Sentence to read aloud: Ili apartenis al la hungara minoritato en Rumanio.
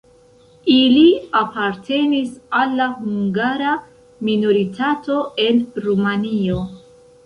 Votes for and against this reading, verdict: 2, 0, accepted